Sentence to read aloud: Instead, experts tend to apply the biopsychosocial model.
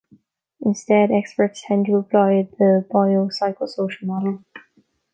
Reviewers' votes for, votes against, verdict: 2, 0, accepted